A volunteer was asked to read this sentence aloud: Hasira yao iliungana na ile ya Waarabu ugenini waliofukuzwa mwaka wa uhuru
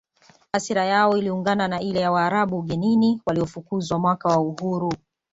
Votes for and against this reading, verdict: 2, 0, accepted